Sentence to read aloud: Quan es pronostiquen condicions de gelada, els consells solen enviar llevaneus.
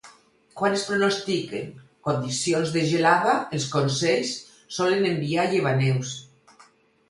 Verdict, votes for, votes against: accepted, 4, 0